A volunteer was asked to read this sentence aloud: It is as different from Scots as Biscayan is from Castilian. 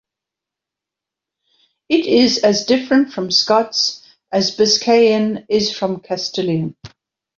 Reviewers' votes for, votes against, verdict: 2, 1, accepted